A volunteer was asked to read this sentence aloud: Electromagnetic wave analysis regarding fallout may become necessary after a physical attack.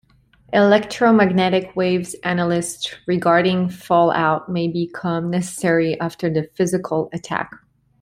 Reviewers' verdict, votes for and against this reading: rejected, 1, 2